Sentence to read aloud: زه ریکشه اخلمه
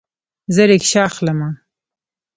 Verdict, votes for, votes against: rejected, 1, 2